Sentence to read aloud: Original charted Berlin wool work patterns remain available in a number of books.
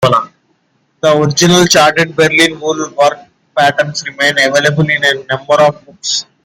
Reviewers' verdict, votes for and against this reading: accepted, 2, 1